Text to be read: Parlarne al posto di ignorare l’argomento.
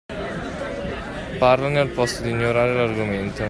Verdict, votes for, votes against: rejected, 1, 2